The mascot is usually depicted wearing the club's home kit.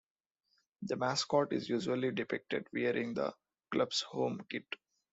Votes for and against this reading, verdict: 3, 0, accepted